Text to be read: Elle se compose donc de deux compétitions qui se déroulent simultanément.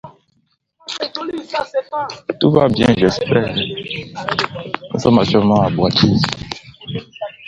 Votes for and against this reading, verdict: 0, 2, rejected